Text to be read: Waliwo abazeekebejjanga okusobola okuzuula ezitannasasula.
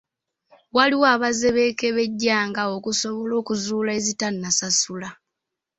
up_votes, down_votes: 2, 0